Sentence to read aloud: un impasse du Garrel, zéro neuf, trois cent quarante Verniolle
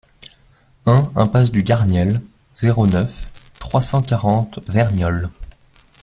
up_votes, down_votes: 0, 2